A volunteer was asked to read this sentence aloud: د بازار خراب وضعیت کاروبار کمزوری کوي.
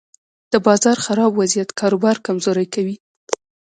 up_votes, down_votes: 0, 2